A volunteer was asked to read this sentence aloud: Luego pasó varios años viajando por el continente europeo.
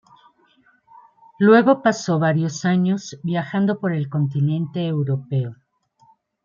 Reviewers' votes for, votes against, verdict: 2, 0, accepted